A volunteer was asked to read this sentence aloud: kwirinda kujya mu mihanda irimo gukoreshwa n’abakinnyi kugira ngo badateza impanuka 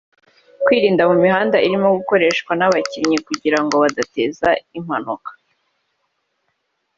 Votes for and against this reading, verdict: 2, 1, accepted